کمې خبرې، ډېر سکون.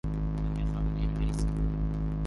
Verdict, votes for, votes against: rejected, 1, 2